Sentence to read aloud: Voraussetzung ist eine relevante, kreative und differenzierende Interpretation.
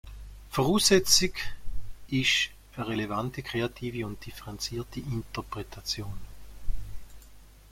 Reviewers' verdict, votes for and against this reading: rejected, 1, 2